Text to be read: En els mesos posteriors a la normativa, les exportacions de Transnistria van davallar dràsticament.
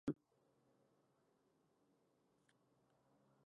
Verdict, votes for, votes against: rejected, 0, 2